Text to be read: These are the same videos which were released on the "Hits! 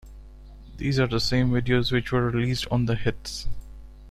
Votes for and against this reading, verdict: 2, 0, accepted